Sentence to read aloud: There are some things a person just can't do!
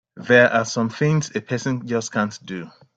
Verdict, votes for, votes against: rejected, 1, 3